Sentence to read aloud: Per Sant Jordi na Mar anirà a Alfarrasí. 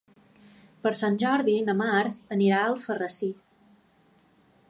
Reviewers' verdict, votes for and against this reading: accepted, 3, 0